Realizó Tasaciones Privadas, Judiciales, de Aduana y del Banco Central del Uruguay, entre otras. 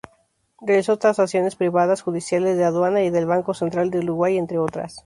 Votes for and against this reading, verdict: 0, 2, rejected